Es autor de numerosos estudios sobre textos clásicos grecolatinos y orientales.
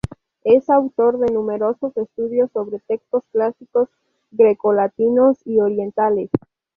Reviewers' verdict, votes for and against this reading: accepted, 2, 0